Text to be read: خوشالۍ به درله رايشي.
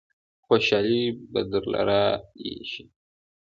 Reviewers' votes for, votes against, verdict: 2, 1, accepted